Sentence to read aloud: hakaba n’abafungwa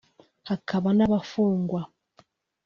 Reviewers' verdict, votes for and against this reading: accepted, 2, 1